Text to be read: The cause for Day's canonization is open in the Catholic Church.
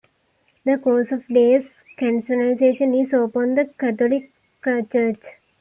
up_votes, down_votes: 0, 2